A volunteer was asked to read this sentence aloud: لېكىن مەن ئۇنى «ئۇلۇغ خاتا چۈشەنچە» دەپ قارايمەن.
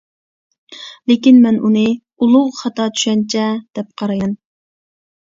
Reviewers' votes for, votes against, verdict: 1, 2, rejected